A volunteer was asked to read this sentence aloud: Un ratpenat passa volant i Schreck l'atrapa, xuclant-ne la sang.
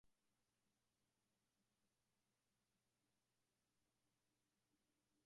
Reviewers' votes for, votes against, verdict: 0, 2, rejected